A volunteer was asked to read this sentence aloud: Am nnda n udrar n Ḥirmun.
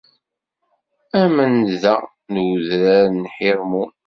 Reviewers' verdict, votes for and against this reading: accepted, 2, 0